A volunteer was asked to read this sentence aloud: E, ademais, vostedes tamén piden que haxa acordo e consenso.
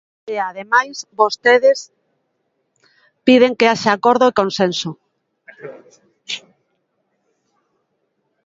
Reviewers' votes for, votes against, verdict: 0, 2, rejected